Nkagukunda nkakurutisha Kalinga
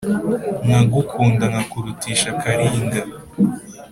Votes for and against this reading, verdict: 3, 0, accepted